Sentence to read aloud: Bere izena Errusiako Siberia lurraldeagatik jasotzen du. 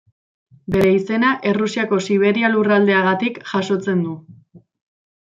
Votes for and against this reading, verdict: 2, 0, accepted